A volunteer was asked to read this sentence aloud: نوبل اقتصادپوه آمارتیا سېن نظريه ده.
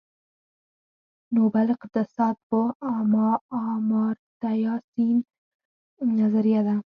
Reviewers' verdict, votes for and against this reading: rejected, 2, 4